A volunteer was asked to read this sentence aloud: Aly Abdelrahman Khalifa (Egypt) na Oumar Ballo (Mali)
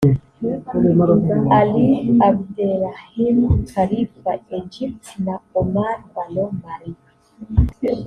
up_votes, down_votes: 1, 2